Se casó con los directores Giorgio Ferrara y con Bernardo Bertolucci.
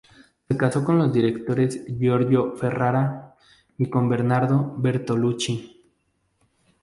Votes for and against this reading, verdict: 4, 0, accepted